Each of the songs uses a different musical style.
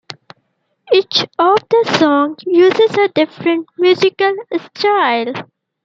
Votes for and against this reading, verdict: 2, 0, accepted